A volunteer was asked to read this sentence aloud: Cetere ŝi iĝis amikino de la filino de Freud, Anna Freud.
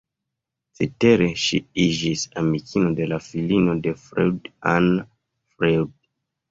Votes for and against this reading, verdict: 1, 2, rejected